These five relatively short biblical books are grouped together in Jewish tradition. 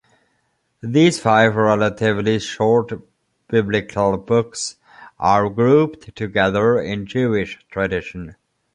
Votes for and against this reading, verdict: 2, 0, accepted